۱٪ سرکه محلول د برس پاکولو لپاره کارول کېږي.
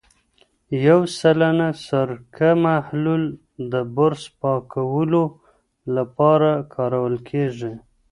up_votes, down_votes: 0, 2